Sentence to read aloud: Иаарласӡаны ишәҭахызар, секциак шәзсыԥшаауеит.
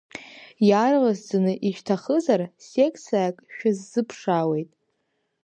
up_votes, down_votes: 1, 2